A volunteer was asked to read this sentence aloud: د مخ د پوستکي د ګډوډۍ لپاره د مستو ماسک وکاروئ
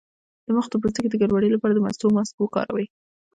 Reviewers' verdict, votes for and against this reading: rejected, 0, 2